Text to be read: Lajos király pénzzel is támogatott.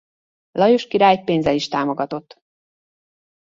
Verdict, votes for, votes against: accepted, 2, 0